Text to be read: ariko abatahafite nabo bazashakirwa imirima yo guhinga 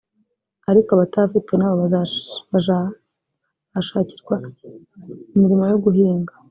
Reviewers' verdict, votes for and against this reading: rejected, 0, 5